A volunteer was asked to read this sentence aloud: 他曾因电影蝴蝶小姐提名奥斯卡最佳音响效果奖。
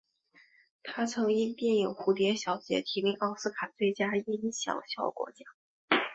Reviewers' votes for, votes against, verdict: 3, 0, accepted